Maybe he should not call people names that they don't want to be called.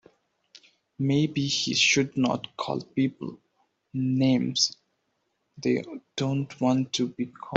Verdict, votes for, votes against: rejected, 2, 4